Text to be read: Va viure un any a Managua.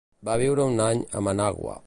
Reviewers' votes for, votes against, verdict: 2, 0, accepted